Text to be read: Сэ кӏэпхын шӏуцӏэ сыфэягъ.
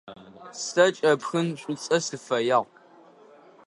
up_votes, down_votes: 2, 0